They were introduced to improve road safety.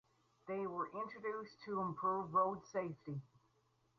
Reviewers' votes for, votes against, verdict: 4, 0, accepted